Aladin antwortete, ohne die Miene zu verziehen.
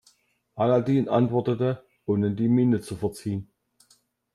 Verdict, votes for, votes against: accepted, 2, 0